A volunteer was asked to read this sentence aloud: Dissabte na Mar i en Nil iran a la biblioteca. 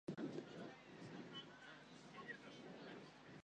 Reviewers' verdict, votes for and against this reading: rejected, 0, 2